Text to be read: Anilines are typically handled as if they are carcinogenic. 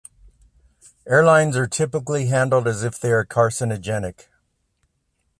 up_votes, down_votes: 0, 2